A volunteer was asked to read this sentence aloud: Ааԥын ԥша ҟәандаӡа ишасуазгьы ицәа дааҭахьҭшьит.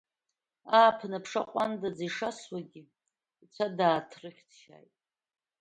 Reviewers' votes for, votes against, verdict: 0, 2, rejected